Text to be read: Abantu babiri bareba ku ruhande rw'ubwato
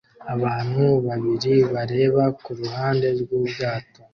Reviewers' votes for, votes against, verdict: 2, 0, accepted